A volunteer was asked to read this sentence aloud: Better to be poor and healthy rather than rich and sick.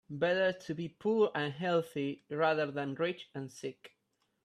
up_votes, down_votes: 2, 0